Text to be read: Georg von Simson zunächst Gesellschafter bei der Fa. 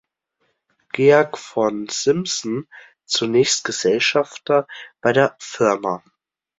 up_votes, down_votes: 1, 2